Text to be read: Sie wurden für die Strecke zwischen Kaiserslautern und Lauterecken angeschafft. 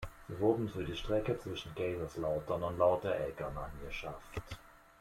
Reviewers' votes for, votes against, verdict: 1, 2, rejected